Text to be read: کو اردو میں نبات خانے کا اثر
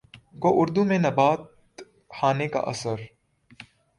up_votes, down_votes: 1, 2